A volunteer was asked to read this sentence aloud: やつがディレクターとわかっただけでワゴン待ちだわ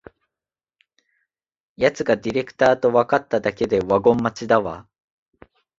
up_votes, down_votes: 6, 1